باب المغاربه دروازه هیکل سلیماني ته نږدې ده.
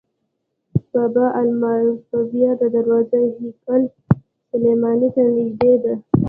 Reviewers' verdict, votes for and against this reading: accepted, 2, 1